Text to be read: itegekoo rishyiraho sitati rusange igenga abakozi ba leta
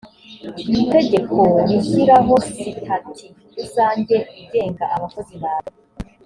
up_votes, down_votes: 3, 0